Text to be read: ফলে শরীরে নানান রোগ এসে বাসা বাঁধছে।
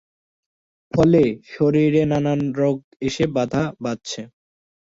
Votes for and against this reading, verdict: 0, 2, rejected